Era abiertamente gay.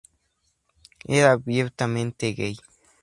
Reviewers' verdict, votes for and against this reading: accepted, 4, 0